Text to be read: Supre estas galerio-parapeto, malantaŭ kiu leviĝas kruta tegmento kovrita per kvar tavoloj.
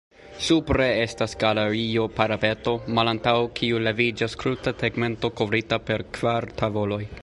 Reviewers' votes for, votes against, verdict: 2, 0, accepted